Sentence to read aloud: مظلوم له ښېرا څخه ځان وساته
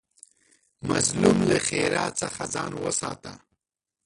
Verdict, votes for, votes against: rejected, 0, 2